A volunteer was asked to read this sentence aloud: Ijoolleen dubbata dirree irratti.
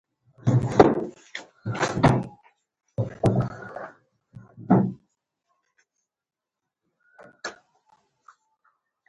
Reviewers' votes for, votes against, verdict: 0, 2, rejected